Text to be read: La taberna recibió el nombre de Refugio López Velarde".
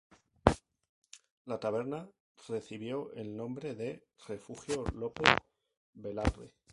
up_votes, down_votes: 0, 2